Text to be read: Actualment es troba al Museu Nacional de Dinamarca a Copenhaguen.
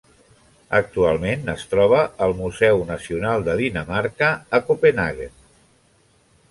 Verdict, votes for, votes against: accepted, 2, 0